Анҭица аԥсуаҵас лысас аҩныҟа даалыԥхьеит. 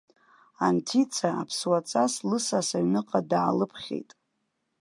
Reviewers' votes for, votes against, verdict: 0, 2, rejected